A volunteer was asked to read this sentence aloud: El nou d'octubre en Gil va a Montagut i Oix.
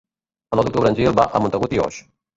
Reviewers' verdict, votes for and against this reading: rejected, 0, 2